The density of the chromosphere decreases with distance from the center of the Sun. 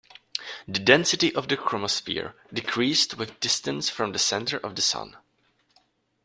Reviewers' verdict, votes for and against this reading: rejected, 0, 2